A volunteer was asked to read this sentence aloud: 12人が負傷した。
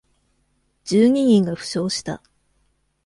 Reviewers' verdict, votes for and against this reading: rejected, 0, 2